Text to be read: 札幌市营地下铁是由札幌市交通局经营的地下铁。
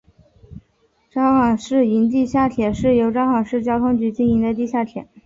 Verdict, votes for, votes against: accepted, 4, 3